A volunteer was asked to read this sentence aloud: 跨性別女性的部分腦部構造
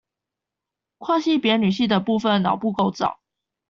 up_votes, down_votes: 2, 0